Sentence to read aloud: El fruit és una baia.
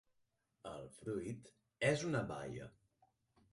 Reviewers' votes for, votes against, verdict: 0, 4, rejected